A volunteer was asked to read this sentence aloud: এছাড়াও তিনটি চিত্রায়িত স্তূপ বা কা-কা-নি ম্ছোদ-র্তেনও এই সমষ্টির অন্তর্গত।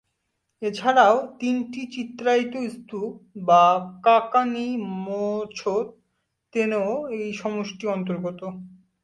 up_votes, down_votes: 2, 0